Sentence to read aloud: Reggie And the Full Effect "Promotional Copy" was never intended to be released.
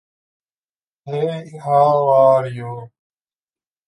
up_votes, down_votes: 0, 2